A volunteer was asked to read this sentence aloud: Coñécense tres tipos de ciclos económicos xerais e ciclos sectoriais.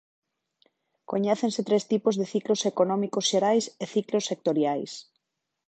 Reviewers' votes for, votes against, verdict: 2, 0, accepted